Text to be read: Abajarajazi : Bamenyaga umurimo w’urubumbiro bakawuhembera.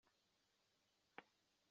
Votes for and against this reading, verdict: 0, 2, rejected